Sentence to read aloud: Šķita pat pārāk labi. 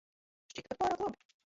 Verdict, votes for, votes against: rejected, 0, 2